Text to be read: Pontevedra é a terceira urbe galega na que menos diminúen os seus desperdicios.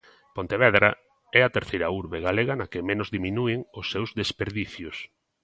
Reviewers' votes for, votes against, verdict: 2, 0, accepted